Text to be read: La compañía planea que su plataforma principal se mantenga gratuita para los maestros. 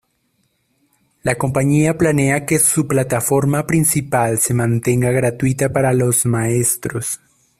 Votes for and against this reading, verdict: 2, 0, accepted